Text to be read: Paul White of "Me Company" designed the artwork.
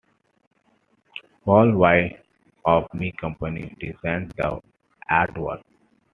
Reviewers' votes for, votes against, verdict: 2, 0, accepted